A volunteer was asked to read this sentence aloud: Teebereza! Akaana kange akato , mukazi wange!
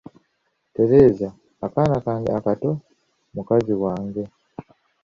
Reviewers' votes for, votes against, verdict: 0, 2, rejected